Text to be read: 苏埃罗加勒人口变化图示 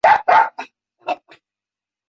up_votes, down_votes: 0, 4